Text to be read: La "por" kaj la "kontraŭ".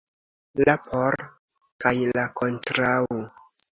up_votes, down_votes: 2, 0